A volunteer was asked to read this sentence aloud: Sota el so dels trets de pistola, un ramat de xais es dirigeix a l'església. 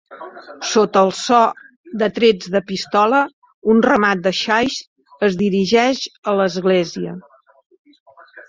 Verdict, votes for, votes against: rejected, 0, 2